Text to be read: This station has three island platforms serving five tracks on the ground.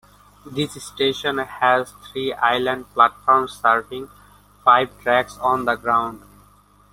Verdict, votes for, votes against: accepted, 2, 0